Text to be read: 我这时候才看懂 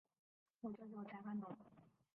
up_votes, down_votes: 0, 5